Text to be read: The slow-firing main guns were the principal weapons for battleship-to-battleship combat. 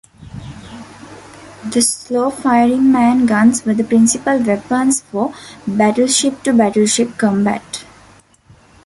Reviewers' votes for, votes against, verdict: 2, 1, accepted